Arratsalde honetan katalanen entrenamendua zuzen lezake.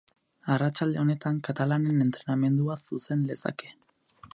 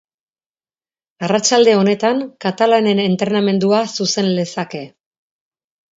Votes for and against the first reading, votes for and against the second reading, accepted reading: 2, 2, 4, 0, second